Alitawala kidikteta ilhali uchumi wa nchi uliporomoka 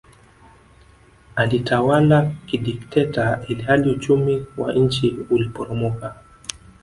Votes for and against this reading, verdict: 2, 0, accepted